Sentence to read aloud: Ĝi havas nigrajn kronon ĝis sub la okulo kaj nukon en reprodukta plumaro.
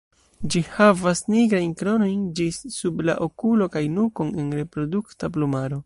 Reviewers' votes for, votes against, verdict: 1, 2, rejected